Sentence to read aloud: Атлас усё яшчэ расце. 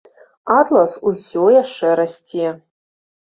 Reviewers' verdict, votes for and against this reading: accepted, 2, 0